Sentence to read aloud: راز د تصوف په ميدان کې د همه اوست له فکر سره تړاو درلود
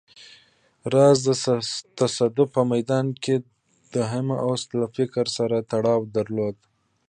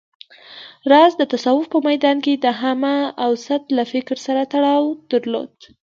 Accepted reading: second